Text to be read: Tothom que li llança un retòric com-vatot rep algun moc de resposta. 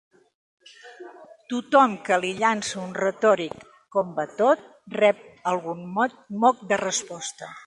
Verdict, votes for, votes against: rejected, 0, 2